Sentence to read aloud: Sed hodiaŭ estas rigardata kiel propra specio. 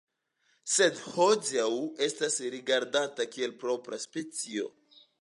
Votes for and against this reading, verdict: 2, 1, accepted